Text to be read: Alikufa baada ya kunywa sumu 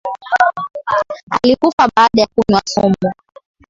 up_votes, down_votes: 6, 0